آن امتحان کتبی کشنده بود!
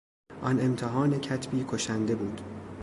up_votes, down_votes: 2, 0